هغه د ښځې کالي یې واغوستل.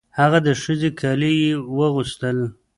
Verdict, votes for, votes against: rejected, 1, 2